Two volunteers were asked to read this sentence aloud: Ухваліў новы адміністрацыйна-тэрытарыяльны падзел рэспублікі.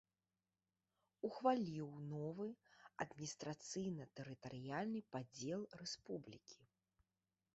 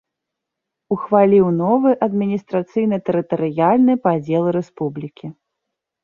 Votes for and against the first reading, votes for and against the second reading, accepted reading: 0, 2, 3, 0, second